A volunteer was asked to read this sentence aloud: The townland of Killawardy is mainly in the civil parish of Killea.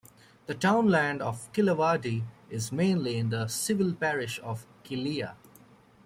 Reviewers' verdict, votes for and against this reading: accepted, 2, 0